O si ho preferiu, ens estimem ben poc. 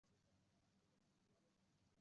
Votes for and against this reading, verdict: 0, 2, rejected